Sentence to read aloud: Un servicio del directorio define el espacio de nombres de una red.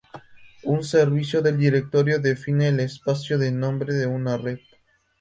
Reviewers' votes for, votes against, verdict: 0, 2, rejected